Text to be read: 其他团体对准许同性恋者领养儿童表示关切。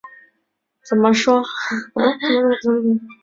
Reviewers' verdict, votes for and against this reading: rejected, 0, 2